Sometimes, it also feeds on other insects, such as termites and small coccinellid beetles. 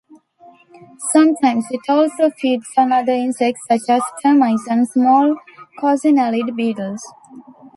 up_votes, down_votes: 0, 2